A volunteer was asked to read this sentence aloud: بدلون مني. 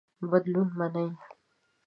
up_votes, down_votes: 1, 2